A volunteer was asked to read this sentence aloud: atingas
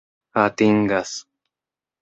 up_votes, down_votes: 2, 0